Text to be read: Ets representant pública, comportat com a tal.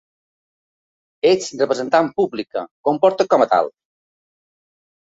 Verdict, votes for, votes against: accepted, 2, 0